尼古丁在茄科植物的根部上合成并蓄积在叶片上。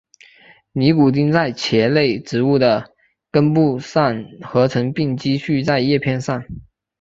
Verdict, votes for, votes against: accepted, 10, 1